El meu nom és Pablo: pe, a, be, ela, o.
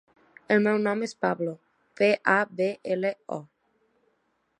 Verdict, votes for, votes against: rejected, 1, 2